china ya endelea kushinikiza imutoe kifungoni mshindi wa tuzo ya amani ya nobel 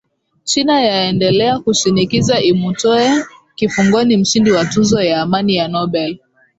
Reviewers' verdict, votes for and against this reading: accepted, 2, 0